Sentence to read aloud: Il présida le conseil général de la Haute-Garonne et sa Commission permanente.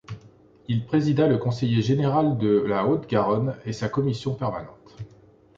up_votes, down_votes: 0, 2